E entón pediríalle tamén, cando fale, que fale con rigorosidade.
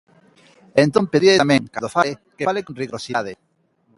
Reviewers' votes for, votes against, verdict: 0, 2, rejected